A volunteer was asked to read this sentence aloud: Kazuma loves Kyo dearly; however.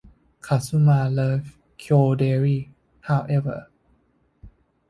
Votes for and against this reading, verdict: 1, 2, rejected